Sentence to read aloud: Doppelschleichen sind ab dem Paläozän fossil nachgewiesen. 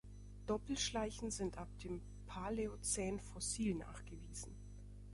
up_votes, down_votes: 2, 0